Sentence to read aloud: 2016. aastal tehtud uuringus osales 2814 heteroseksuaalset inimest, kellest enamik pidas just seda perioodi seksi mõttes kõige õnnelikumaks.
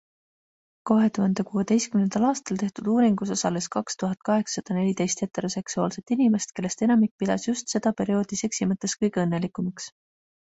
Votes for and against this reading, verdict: 0, 2, rejected